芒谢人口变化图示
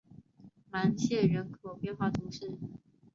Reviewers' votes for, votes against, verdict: 5, 0, accepted